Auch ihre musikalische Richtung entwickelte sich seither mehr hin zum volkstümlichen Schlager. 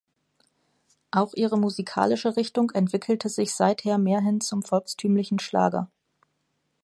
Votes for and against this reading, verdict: 2, 0, accepted